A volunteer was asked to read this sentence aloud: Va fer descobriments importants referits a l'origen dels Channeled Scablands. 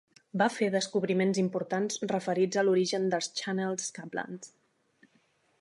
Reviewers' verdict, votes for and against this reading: accepted, 2, 0